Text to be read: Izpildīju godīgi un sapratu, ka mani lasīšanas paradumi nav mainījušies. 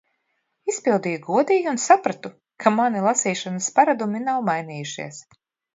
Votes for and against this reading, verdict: 2, 0, accepted